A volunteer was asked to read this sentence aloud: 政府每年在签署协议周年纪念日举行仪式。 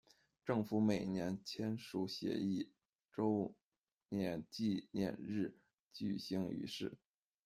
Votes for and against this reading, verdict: 2, 1, accepted